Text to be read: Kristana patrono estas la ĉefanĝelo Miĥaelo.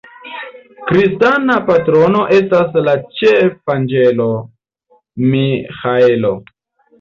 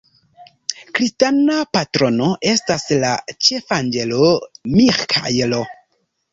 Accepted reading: first